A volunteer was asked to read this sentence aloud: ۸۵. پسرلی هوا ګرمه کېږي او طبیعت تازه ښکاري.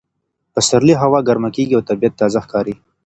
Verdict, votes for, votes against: rejected, 0, 2